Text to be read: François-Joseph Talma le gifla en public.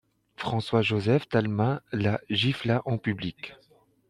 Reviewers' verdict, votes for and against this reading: rejected, 0, 2